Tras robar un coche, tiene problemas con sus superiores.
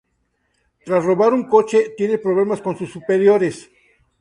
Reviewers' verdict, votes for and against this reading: accepted, 2, 0